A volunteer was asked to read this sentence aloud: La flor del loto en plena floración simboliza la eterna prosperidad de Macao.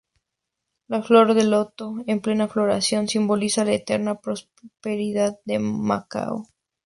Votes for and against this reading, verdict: 2, 0, accepted